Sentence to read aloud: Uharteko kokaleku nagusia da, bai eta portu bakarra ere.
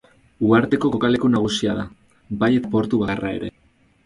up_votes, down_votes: 4, 2